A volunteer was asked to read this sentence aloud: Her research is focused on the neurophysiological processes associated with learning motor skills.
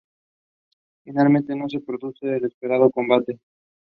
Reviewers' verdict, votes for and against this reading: rejected, 0, 2